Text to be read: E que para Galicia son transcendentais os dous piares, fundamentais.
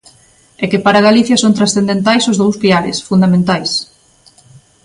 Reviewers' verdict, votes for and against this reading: accepted, 2, 0